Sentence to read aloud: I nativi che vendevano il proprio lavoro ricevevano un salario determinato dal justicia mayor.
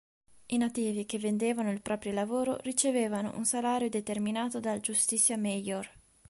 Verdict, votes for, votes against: accepted, 2, 0